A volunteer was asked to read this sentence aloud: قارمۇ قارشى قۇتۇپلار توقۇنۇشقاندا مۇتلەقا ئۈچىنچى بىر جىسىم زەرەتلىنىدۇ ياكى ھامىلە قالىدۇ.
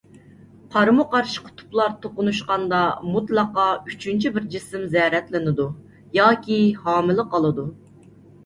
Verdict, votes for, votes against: accepted, 2, 0